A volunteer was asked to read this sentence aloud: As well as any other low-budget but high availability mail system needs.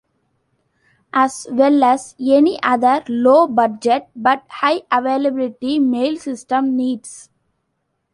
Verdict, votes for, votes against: accepted, 2, 1